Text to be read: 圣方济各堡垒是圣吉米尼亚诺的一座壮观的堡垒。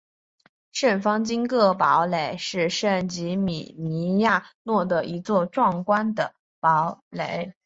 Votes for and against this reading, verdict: 3, 0, accepted